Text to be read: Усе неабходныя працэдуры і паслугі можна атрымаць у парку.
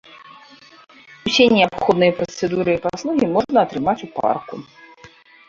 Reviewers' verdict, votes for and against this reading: rejected, 1, 2